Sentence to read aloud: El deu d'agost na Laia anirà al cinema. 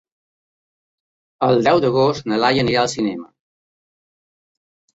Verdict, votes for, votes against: accepted, 3, 0